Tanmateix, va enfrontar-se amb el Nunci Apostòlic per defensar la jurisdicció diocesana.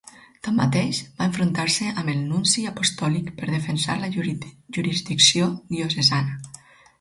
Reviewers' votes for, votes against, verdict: 2, 4, rejected